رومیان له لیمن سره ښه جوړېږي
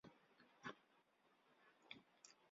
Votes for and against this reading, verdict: 1, 2, rejected